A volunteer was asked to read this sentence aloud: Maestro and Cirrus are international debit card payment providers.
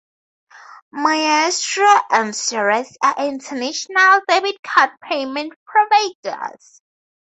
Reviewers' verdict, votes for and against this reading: accepted, 2, 0